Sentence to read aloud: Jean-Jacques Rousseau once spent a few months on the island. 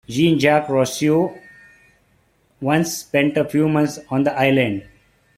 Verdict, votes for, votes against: accepted, 2, 0